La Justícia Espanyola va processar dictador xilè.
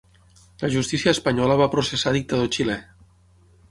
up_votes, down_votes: 6, 0